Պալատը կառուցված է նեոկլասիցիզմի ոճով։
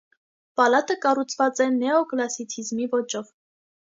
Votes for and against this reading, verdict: 2, 0, accepted